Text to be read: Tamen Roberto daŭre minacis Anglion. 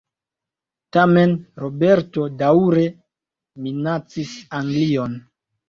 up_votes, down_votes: 2, 1